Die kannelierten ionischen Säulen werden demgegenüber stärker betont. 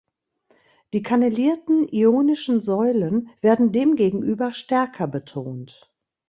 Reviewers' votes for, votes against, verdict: 2, 0, accepted